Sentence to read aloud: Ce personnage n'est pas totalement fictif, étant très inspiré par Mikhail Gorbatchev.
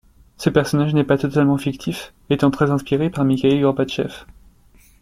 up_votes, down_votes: 2, 1